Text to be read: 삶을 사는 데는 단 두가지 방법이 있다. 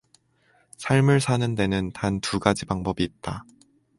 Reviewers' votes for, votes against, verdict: 4, 0, accepted